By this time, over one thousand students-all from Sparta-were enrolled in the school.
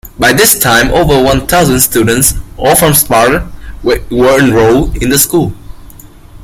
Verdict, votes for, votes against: rejected, 0, 2